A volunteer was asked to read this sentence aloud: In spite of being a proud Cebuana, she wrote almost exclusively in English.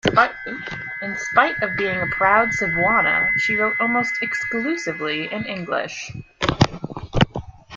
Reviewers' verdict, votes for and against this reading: accepted, 2, 1